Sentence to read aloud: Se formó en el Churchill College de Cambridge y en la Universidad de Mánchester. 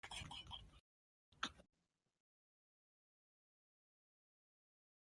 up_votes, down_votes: 0, 2